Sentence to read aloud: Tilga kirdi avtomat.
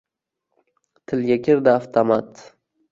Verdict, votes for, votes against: accepted, 2, 1